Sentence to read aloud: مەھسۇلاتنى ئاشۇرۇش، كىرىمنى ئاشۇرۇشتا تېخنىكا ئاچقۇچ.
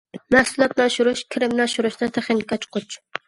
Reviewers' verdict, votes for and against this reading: rejected, 1, 2